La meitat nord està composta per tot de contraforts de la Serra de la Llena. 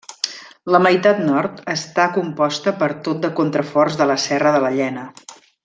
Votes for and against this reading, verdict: 3, 0, accepted